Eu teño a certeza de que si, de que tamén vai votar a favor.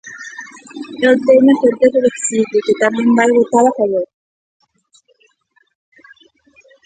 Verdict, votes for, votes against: rejected, 1, 2